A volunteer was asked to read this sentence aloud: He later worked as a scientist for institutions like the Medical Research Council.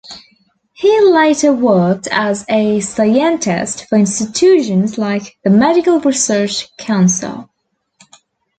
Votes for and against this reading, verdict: 1, 2, rejected